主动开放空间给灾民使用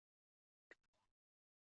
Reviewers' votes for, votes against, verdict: 4, 2, accepted